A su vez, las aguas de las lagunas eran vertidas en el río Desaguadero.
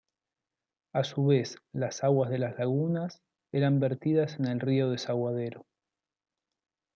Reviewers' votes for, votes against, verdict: 2, 0, accepted